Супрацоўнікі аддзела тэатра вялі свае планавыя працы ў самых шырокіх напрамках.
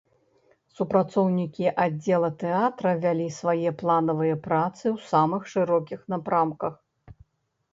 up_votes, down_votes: 2, 0